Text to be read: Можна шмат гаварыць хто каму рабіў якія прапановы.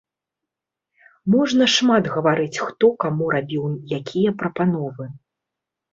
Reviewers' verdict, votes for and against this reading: accepted, 2, 0